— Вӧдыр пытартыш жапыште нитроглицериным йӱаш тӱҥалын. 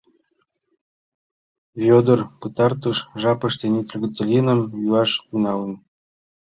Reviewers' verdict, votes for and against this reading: rejected, 1, 2